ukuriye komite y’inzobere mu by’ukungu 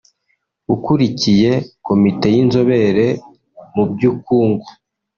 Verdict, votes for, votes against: rejected, 0, 2